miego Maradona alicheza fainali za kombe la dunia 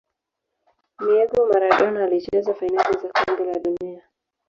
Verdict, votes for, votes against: rejected, 1, 2